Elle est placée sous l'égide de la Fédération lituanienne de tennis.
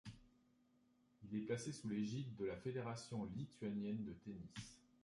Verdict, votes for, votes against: rejected, 1, 2